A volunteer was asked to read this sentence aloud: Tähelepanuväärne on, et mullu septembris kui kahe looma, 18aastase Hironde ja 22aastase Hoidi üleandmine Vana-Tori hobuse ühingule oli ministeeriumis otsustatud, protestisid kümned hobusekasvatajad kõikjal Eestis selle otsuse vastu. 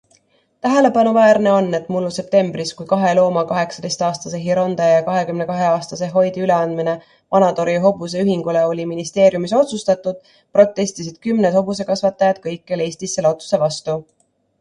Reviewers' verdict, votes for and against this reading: rejected, 0, 2